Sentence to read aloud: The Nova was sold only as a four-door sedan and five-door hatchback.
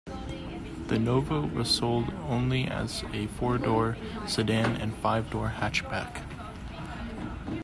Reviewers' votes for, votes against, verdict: 2, 0, accepted